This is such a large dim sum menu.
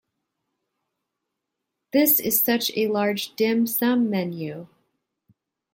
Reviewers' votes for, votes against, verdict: 2, 1, accepted